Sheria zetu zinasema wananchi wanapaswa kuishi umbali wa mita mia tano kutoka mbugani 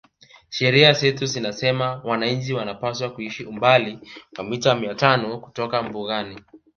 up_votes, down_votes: 2, 0